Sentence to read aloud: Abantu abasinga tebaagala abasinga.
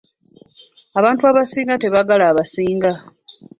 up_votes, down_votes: 2, 0